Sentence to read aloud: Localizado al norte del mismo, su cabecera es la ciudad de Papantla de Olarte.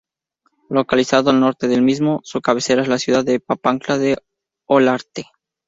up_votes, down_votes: 4, 0